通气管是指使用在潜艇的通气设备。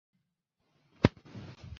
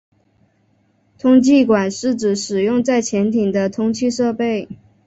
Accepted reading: second